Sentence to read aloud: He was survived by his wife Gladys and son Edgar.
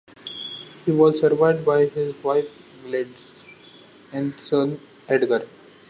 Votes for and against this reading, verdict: 1, 2, rejected